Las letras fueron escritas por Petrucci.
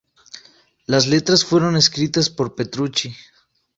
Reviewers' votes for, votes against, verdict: 2, 0, accepted